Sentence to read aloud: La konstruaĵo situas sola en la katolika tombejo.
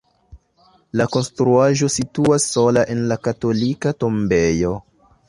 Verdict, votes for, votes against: accepted, 2, 0